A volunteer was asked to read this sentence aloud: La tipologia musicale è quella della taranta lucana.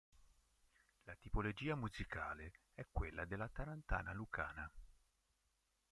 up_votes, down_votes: 0, 2